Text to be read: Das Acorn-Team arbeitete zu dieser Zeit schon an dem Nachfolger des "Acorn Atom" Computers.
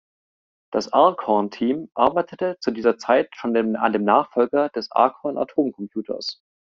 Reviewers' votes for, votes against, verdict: 1, 2, rejected